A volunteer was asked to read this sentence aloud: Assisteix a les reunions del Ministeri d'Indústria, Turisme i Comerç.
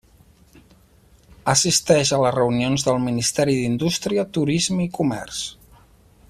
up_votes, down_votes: 8, 0